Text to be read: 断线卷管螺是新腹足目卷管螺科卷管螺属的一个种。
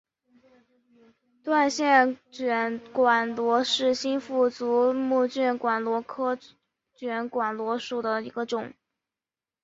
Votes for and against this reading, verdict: 3, 0, accepted